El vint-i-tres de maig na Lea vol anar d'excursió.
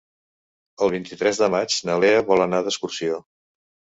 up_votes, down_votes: 4, 0